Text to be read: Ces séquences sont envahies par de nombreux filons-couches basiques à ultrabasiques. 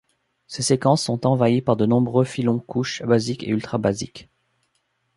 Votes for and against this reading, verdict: 1, 2, rejected